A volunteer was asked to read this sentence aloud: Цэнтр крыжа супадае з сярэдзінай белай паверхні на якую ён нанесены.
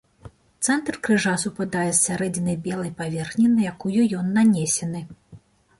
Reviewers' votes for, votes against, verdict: 2, 0, accepted